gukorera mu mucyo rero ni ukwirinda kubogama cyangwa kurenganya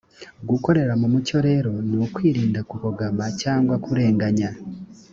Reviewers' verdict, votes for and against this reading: accepted, 2, 0